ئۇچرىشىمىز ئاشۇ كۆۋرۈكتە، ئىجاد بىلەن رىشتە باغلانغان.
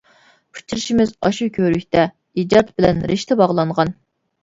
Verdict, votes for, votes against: accepted, 2, 0